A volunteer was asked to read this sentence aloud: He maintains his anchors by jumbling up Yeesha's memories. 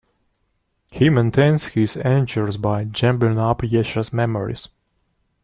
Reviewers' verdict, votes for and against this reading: rejected, 1, 2